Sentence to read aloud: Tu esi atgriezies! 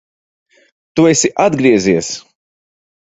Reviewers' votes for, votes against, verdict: 2, 0, accepted